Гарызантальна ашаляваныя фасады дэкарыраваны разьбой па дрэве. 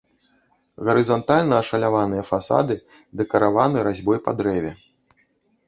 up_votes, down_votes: 0, 2